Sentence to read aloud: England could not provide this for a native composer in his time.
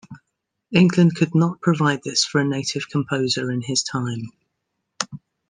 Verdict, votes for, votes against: accepted, 2, 0